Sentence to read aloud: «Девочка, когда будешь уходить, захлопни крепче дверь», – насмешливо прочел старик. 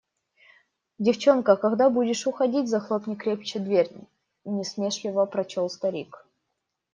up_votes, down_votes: 1, 2